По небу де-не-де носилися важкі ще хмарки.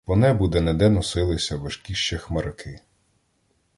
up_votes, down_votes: 2, 0